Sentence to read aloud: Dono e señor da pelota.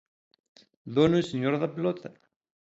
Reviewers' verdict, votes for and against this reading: accepted, 2, 0